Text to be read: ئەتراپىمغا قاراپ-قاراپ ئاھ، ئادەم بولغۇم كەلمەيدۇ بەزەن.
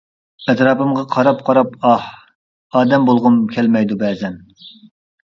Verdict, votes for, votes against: accepted, 2, 1